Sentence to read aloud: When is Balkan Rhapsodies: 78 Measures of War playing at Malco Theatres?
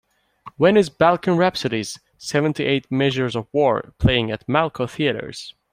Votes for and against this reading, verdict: 0, 2, rejected